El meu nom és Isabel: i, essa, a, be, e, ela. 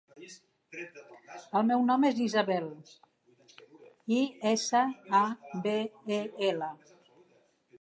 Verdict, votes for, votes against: rejected, 1, 3